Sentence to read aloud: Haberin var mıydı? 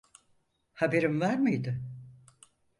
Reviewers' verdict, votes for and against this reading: accepted, 4, 0